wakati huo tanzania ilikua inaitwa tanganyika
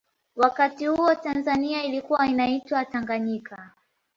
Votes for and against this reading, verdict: 2, 1, accepted